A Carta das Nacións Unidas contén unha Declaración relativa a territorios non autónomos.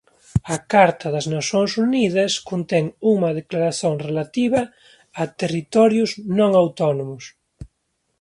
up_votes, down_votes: 0, 3